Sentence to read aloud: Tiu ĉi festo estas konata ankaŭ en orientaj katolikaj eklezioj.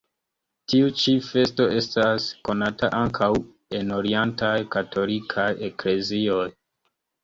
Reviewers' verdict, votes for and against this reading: accepted, 2, 1